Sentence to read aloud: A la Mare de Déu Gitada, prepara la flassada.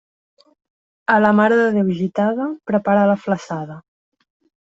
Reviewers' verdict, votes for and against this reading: accepted, 2, 0